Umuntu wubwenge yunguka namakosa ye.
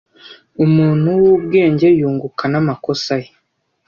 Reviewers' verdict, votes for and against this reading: accepted, 2, 0